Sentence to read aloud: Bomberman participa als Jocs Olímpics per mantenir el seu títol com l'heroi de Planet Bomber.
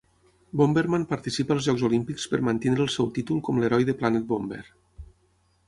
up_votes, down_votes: 3, 9